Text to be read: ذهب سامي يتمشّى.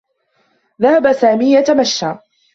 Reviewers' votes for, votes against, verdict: 0, 2, rejected